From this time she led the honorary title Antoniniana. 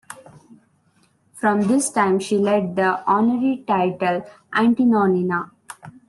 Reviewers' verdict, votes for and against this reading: rejected, 0, 2